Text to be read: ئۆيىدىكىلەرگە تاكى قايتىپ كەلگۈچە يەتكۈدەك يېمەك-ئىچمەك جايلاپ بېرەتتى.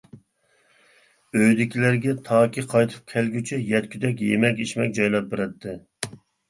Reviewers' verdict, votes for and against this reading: accepted, 2, 0